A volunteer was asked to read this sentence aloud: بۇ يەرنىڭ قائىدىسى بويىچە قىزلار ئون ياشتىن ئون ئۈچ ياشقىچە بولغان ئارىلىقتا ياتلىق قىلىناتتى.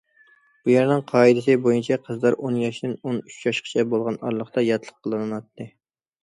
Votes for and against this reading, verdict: 2, 0, accepted